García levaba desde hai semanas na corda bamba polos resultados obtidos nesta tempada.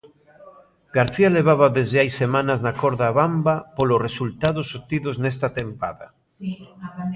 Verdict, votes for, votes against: rejected, 1, 2